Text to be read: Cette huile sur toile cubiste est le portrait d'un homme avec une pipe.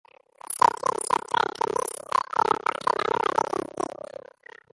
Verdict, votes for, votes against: rejected, 0, 2